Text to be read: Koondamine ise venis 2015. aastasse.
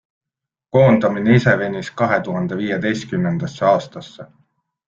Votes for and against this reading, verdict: 0, 2, rejected